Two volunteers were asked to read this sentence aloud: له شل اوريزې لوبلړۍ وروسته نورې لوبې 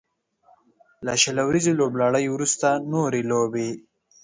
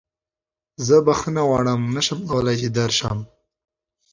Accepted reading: first